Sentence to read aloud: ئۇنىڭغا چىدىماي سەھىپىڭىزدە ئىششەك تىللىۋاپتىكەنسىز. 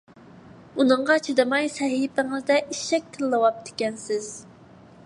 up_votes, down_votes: 2, 0